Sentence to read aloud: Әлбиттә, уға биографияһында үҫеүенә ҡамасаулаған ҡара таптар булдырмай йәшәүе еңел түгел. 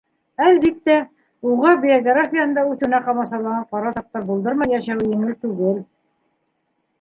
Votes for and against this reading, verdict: 1, 2, rejected